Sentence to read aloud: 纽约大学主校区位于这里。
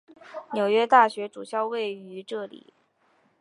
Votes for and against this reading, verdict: 0, 3, rejected